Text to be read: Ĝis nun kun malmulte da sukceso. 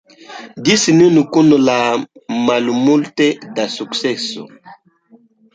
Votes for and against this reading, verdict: 1, 2, rejected